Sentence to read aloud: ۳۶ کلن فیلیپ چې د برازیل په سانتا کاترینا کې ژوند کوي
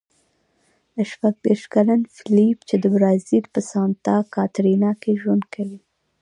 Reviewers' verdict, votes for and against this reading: rejected, 0, 2